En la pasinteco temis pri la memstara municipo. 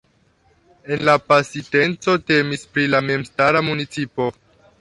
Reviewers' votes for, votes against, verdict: 1, 2, rejected